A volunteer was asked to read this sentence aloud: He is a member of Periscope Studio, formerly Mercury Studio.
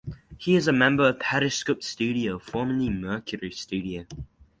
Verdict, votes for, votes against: accepted, 4, 2